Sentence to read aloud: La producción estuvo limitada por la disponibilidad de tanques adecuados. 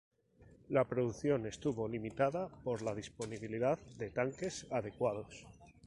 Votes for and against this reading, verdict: 0, 2, rejected